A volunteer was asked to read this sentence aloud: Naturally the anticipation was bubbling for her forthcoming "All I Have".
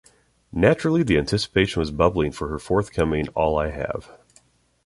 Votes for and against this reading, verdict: 3, 0, accepted